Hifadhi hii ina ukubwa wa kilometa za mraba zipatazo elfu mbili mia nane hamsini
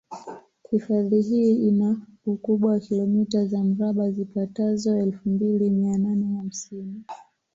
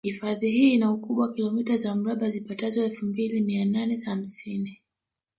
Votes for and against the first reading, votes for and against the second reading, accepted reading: 2, 0, 0, 2, first